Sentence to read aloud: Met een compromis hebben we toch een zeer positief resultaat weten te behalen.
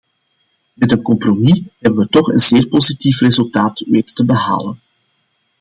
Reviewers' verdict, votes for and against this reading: accepted, 2, 0